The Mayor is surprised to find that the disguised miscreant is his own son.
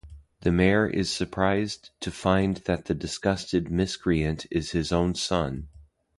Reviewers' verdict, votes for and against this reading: rejected, 2, 2